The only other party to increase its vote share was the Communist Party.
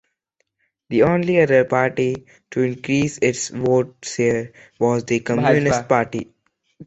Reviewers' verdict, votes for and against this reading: accepted, 2, 0